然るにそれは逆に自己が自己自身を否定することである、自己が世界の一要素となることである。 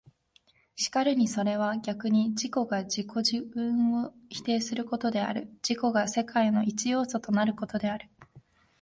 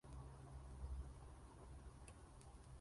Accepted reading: first